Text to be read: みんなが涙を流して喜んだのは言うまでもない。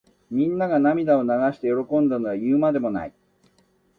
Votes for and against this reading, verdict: 2, 0, accepted